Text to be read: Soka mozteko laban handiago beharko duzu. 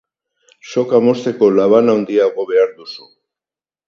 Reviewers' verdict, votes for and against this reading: accepted, 4, 0